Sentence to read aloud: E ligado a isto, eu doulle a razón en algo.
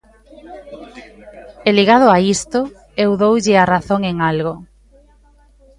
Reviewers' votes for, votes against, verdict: 1, 2, rejected